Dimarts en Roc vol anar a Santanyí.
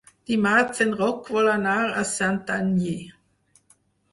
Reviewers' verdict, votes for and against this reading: accepted, 4, 0